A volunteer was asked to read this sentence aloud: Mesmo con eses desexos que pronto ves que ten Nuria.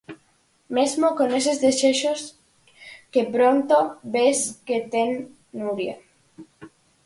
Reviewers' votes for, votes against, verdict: 4, 0, accepted